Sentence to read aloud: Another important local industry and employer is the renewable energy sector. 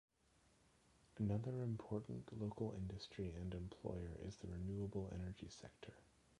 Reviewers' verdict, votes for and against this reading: rejected, 1, 2